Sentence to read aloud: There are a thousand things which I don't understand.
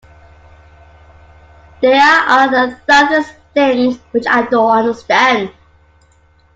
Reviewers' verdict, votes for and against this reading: rejected, 0, 2